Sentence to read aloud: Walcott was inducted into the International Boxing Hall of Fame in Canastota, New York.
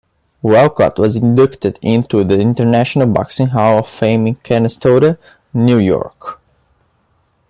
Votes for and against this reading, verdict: 2, 0, accepted